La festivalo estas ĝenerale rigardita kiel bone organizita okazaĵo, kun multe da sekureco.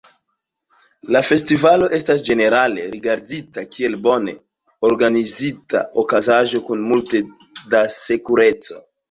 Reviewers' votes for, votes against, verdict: 0, 2, rejected